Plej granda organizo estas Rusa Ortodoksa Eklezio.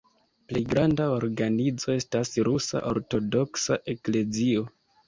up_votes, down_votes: 0, 2